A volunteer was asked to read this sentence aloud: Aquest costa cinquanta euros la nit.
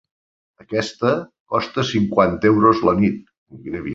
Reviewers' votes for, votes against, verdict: 0, 2, rejected